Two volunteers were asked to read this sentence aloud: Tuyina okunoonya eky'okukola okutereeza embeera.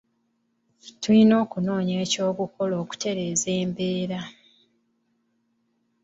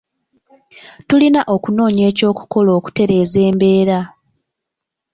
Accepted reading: first